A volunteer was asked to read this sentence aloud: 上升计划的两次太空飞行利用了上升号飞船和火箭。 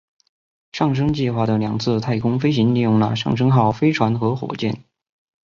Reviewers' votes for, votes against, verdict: 0, 2, rejected